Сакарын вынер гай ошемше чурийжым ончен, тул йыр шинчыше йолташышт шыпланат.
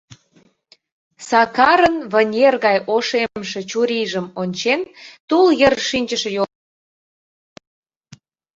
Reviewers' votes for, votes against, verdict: 0, 2, rejected